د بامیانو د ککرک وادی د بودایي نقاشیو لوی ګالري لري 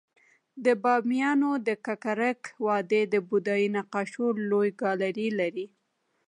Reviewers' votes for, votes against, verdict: 0, 2, rejected